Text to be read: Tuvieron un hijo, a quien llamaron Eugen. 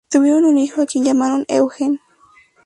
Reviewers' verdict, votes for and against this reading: accepted, 2, 0